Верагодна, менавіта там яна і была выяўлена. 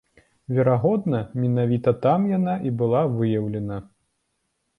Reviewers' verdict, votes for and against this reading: accepted, 2, 0